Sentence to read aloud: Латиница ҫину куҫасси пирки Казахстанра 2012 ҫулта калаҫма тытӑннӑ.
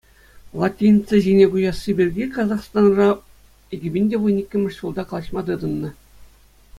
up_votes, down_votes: 0, 2